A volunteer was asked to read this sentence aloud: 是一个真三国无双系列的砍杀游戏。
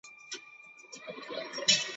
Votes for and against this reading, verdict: 1, 3, rejected